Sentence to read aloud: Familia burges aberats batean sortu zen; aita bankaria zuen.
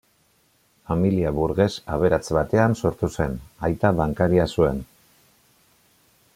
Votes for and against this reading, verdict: 2, 0, accepted